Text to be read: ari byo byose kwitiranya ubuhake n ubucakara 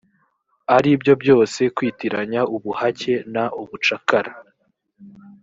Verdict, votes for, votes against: rejected, 1, 2